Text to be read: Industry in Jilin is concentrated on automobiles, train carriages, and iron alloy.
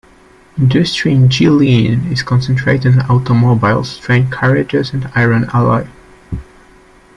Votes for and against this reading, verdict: 2, 1, accepted